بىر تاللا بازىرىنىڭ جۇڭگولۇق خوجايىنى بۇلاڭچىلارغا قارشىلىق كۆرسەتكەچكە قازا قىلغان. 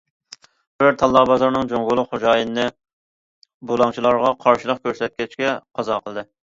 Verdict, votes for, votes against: rejected, 0, 2